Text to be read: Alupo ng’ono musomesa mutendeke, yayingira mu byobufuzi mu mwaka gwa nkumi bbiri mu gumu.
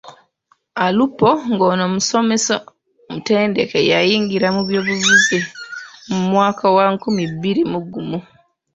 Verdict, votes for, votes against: rejected, 0, 2